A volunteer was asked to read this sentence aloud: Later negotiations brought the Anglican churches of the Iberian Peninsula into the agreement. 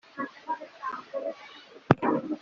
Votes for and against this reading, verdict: 0, 2, rejected